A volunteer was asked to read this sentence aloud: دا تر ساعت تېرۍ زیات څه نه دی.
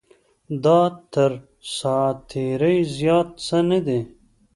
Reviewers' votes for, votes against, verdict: 2, 0, accepted